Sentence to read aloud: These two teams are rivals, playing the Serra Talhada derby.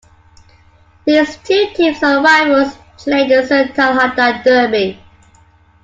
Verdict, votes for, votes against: rejected, 0, 2